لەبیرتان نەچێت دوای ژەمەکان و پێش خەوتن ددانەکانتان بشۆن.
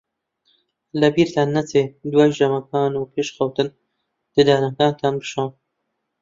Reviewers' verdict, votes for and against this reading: accepted, 2, 1